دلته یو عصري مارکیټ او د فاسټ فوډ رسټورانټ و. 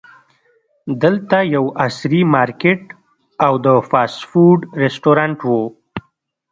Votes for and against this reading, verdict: 1, 2, rejected